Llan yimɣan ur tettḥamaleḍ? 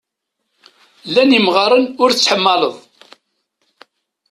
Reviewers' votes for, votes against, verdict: 1, 2, rejected